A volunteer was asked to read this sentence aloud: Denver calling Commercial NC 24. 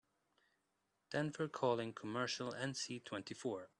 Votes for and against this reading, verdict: 0, 2, rejected